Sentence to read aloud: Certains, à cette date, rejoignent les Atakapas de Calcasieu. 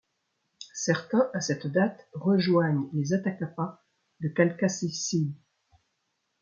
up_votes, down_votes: 0, 2